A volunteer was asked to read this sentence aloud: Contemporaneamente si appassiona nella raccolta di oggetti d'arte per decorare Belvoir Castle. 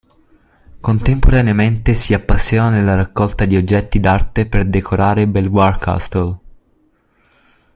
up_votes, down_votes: 1, 2